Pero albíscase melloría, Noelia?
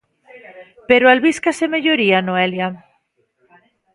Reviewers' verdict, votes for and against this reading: rejected, 1, 2